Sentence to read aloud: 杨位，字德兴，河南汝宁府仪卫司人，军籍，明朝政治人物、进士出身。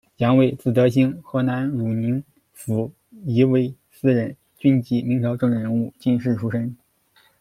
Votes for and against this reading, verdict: 2, 0, accepted